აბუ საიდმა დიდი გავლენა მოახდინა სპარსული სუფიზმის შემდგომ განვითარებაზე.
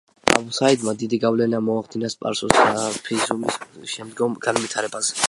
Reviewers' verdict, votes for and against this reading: accepted, 2, 1